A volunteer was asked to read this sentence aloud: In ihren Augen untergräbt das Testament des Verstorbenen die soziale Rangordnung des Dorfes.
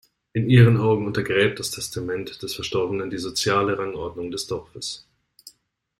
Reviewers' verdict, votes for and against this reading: accepted, 2, 0